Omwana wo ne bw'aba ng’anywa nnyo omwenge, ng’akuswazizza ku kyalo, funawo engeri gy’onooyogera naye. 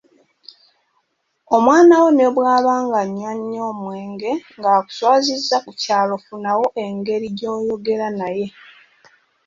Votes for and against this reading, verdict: 1, 2, rejected